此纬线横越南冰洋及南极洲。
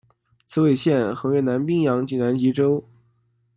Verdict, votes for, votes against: rejected, 1, 2